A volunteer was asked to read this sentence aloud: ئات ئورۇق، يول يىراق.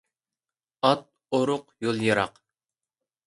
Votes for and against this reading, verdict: 2, 0, accepted